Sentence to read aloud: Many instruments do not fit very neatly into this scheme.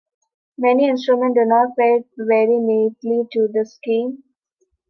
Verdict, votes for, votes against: rejected, 0, 2